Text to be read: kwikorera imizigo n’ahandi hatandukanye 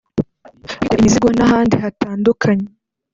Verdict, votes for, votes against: accepted, 2, 0